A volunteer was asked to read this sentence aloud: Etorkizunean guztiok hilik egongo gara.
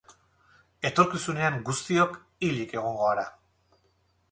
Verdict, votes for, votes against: accepted, 2, 0